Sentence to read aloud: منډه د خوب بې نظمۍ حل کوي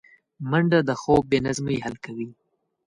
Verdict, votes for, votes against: accepted, 2, 1